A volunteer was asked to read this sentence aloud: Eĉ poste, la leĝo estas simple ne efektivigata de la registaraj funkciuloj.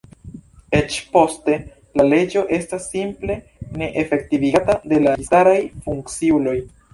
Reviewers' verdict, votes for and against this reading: rejected, 1, 2